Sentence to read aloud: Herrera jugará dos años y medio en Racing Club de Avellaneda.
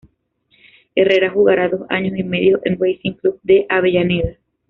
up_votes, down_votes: 2, 0